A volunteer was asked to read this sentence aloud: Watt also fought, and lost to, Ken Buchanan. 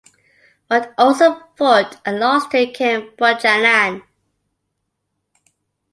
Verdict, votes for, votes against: rejected, 0, 2